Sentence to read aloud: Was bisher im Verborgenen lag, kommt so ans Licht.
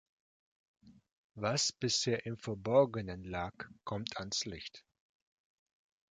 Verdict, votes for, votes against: rejected, 0, 2